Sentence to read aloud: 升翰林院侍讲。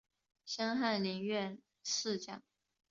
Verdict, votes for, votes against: accepted, 2, 0